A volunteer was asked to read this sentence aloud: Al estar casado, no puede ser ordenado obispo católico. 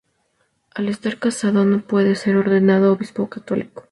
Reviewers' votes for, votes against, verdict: 2, 0, accepted